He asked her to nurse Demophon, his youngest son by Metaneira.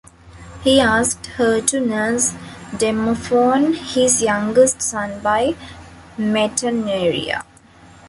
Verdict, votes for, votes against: accepted, 2, 1